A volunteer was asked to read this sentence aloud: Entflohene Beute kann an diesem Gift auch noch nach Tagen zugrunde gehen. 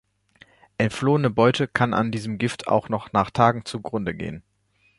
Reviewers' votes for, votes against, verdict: 2, 0, accepted